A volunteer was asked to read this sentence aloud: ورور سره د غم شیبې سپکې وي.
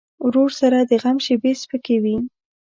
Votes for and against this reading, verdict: 2, 0, accepted